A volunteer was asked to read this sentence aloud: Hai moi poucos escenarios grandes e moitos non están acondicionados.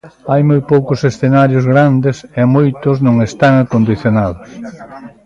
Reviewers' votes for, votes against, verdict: 2, 0, accepted